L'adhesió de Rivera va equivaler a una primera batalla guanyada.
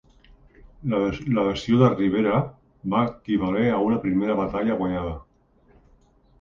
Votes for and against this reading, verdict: 1, 2, rejected